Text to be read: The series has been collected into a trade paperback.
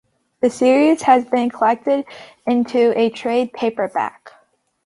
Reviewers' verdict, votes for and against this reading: accepted, 2, 0